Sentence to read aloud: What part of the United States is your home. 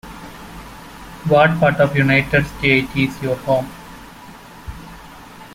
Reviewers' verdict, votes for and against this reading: rejected, 0, 2